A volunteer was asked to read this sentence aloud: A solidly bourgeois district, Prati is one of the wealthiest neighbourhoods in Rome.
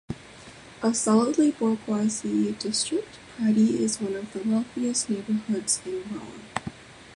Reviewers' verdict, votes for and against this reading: rejected, 1, 2